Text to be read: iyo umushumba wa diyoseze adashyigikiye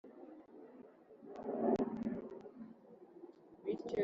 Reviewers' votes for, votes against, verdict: 1, 2, rejected